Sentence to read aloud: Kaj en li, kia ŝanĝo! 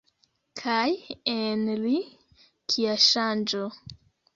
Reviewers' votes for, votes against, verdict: 2, 1, accepted